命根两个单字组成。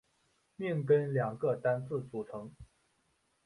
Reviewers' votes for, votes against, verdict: 2, 0, accepted